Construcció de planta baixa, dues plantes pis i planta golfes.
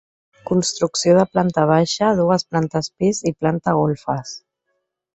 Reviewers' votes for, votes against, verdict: 4, 0, accepted